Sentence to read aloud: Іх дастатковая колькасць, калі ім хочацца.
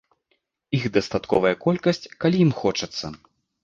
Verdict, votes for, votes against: accepted, 2, 0